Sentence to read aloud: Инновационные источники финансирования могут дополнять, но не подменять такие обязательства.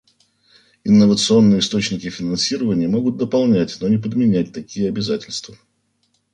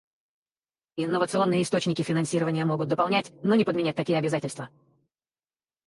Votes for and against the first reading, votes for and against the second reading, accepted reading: 2, 1, 0, 4, first